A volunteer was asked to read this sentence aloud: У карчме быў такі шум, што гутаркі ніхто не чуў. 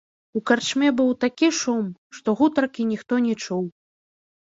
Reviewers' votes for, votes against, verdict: 3, 0, accepted